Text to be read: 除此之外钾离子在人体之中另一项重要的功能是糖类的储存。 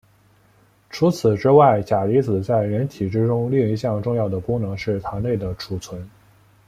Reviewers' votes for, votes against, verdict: 2, 0, accepted